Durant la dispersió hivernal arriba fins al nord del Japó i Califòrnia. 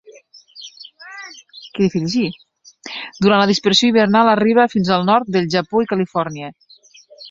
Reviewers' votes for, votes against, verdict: 1, 2, rejected